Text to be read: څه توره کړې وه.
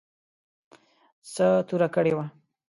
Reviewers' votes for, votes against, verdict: 2, 0, accepted